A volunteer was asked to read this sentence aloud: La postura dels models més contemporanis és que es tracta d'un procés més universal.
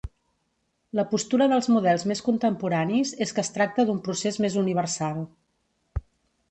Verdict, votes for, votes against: accepted, 2, 0